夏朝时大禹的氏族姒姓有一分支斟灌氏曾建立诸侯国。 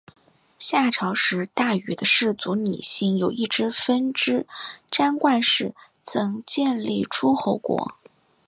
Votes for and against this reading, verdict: 4, 1, accepted